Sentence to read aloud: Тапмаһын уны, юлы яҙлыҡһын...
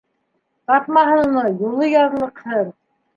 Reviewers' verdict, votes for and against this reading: accepted, 2, 0